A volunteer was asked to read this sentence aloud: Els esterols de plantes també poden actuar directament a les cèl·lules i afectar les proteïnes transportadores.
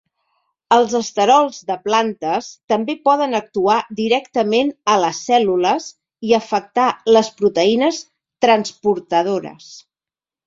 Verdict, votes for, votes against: accepted, 3, 0